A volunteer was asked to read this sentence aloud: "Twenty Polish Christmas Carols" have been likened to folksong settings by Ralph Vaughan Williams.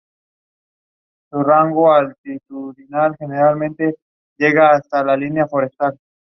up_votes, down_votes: 0, 2